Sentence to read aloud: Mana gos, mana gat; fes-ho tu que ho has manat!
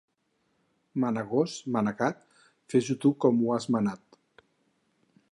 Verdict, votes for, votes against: rejected, 0, 4